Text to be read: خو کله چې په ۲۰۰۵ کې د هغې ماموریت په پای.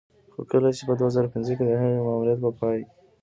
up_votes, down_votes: 0, 2